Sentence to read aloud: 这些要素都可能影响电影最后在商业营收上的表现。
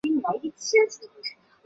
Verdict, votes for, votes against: accepted, 2, 0